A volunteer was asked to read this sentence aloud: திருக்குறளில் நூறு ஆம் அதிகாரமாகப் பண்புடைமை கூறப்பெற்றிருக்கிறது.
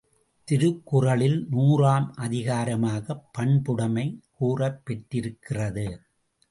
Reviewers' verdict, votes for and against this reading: accepted, 2, 0